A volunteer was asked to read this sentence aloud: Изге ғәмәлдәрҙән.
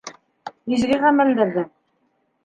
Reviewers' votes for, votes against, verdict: 0, 2, rejected